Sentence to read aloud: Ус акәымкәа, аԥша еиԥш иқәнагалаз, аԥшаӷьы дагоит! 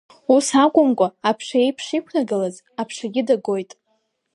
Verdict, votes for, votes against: rejected, 1, 2